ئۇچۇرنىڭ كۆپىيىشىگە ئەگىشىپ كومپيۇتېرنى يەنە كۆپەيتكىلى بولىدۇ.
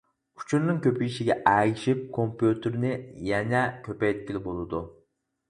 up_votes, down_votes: 4, 0